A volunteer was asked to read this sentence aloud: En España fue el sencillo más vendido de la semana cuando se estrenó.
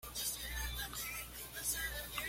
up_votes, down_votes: 1, 2